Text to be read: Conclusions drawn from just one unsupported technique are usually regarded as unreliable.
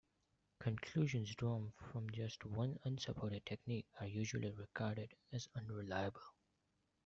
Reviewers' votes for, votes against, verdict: 0, 2, rejected